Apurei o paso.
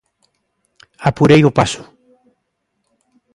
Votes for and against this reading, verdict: 2, 0, accepted